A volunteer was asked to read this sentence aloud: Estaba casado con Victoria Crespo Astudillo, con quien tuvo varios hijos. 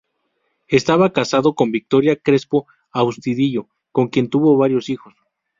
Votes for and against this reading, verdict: 0, 2, rejected